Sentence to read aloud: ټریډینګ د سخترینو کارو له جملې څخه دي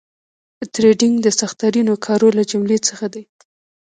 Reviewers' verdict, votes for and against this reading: rejected, 1, 2